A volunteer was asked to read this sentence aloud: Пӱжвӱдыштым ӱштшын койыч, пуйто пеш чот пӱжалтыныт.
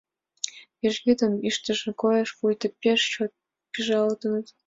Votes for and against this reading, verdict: 0, 2, rejected